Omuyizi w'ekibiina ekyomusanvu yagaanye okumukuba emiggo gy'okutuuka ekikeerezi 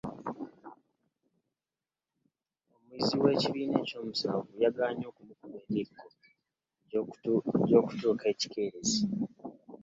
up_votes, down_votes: 0, 2